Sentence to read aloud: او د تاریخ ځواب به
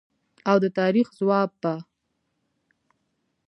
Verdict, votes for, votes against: accepted, 2, 0